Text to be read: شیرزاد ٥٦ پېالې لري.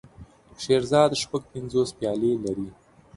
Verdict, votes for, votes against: rejected, 0, 2